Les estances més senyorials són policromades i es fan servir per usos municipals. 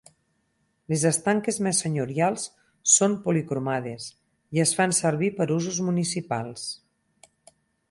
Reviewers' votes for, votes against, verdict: 0, 6, rejected